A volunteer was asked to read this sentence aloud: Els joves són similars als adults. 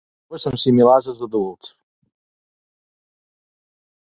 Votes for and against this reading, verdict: 0, 3, rejected